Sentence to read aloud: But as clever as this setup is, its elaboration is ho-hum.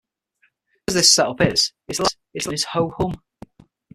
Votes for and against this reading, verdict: 0, 6, rejected